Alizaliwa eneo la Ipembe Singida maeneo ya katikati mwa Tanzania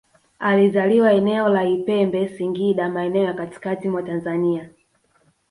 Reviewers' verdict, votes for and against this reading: rejected, 0, 2